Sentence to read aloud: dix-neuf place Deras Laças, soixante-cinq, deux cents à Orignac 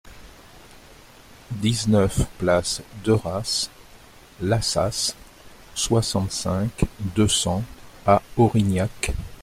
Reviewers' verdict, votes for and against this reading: accepted, 2, 0